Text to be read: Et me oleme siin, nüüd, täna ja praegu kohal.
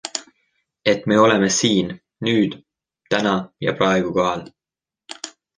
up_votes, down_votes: 2, 0